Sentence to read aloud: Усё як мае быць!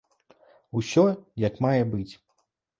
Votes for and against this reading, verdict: 2, 0, accepted